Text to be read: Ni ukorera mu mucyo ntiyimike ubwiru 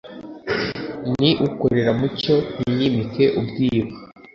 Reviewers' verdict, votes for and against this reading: accepted, 2, 0